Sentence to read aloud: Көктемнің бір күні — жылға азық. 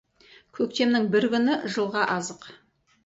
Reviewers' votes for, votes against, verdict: 2, 2, rejected